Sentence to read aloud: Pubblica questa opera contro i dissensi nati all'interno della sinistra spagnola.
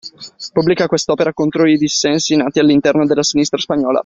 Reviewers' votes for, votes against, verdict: 2, 0, accepted